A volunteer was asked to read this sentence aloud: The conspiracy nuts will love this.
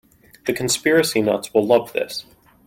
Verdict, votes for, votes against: accepted, 2, 0